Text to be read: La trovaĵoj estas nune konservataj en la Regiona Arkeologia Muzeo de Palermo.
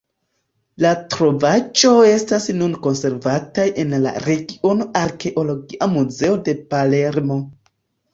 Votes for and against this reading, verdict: 2, 0, accepted